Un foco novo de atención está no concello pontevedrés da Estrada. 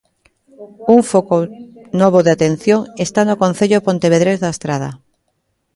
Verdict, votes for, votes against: rejected, 0, 2